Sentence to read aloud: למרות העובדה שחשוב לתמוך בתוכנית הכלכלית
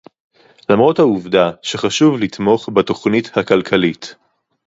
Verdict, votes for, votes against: accepted, 4, 0